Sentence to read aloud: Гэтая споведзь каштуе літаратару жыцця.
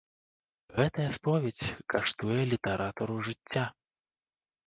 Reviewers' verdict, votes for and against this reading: accepted, 2, 0